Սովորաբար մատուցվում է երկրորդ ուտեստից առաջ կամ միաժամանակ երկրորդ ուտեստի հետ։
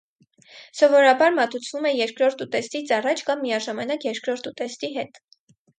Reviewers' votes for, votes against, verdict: 4, 0, accepted